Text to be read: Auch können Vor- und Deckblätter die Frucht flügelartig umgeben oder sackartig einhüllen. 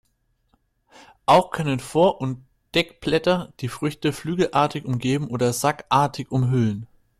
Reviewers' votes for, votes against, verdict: 0, 2, rejected